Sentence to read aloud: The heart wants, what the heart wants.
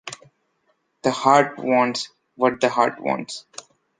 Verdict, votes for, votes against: accepted, 3, 0